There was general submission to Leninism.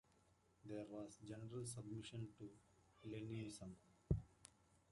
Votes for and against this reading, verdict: 2, 1, accepted